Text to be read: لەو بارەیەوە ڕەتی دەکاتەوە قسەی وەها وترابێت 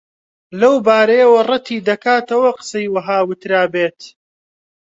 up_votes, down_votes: 2, 0